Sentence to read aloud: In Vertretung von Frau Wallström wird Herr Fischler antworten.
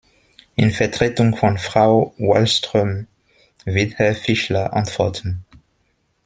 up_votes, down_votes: 2, 0